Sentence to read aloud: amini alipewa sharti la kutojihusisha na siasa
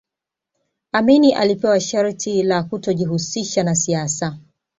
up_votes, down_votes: 2, 0